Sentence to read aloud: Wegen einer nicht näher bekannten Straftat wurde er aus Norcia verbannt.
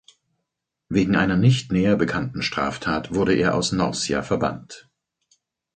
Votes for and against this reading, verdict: 4, 0, accepted